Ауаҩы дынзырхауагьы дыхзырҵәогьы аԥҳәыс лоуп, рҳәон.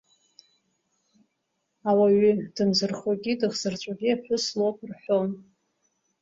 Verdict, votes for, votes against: rejected, 0, 2